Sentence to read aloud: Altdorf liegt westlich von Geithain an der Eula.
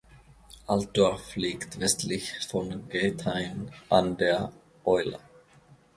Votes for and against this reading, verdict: 2, 0, accepted